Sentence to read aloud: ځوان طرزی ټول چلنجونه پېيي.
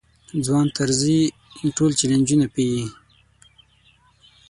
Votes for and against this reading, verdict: 6, 3, accepted